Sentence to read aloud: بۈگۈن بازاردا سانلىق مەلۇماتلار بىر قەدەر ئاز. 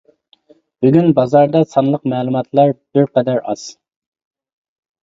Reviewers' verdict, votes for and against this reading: accepted, 2, 0